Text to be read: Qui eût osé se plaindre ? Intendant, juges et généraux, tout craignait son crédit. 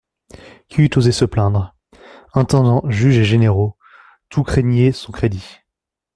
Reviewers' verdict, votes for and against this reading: accepted, 2, 0